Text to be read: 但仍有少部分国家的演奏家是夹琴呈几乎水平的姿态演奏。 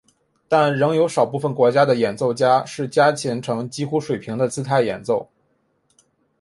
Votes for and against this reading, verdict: 3, 1, accepted